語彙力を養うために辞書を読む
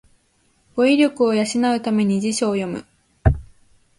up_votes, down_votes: 2, 0